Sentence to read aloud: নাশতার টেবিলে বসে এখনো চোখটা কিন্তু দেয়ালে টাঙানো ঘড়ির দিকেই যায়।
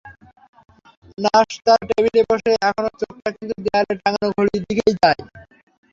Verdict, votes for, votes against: accepted, 3, 0